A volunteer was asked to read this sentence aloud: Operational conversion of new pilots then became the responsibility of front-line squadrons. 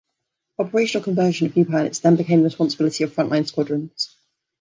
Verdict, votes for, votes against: accepted, 2, 0